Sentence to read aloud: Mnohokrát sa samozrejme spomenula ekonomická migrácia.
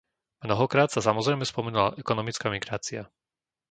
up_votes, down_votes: 2, 0